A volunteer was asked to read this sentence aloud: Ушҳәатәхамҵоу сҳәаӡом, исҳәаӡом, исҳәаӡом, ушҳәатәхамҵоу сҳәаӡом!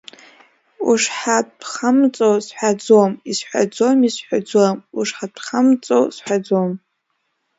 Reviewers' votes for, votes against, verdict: 2, 0, accepted